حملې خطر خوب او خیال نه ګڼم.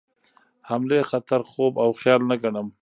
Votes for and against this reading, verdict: 2, 0, accepted